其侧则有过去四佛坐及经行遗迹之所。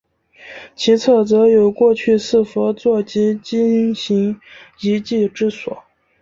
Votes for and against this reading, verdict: 2, 0, accepted